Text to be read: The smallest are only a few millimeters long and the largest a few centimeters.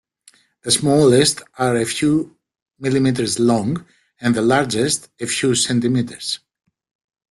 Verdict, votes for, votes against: rejected, 1, 2